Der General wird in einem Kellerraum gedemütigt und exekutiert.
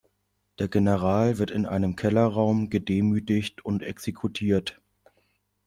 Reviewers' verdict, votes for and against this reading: accepted, 2, 0